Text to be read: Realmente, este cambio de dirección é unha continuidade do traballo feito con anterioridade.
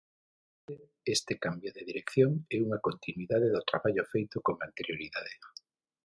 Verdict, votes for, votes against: rejected, 3, 6